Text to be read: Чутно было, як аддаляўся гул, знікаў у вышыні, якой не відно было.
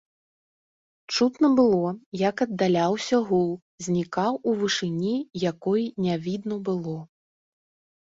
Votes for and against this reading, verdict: 1, 2, rejected